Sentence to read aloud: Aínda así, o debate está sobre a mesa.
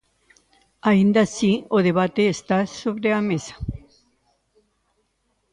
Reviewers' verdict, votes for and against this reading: accepted, 2, 0